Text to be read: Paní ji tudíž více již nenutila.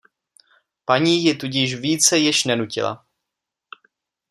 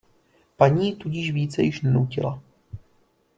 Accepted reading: first